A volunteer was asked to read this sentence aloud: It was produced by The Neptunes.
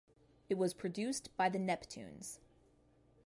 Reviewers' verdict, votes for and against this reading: accepted, 2, 0